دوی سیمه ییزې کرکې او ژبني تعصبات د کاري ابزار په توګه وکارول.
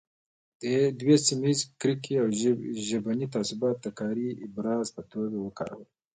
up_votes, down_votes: 1, 2